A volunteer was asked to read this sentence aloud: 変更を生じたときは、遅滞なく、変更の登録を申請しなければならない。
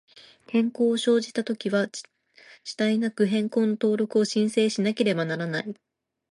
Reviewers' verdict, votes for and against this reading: accepted, 2, 0